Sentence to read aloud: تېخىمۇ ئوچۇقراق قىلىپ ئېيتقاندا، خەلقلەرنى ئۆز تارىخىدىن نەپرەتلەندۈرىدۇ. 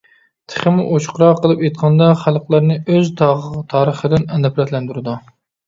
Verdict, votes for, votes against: rejected, 0, 2